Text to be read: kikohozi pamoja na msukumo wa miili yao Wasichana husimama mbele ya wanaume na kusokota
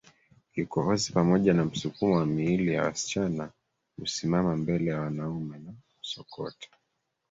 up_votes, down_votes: 2, 1